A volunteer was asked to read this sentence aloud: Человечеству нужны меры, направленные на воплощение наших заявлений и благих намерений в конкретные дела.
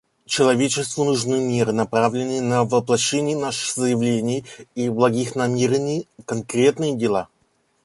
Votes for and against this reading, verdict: 1, 2, rejected